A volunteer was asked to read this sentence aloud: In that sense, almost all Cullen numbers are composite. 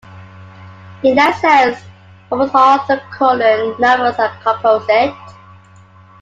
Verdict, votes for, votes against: rejected, 0, 2